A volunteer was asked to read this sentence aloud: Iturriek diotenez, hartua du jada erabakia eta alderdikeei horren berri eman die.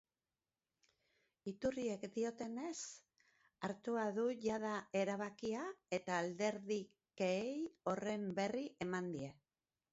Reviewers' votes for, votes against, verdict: 0, 2, rejected